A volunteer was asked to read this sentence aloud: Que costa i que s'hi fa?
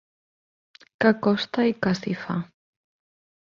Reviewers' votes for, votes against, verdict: 1, 2, rejected